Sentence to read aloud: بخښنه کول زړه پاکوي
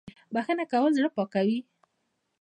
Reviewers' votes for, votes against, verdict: 2, 0, accepted